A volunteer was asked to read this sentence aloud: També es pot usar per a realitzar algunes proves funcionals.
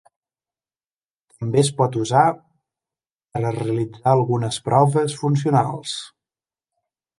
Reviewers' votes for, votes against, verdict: 1, 2, rejected